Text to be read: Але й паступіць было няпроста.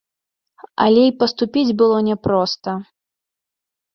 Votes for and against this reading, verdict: 2, 0, accepted